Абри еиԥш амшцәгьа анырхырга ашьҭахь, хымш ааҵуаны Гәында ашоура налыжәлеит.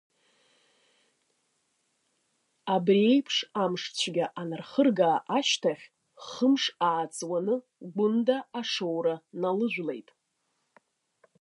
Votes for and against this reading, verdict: 2, 0, accepted